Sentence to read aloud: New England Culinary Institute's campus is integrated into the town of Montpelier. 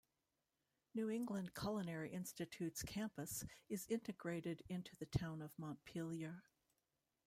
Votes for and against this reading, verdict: 0, 2, rejected